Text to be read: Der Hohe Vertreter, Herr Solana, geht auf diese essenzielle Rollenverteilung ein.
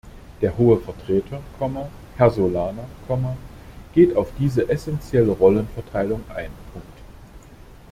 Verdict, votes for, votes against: rejected, 0, 2